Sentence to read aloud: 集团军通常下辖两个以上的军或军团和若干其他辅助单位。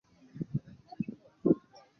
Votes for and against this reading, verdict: 0, 3, rejected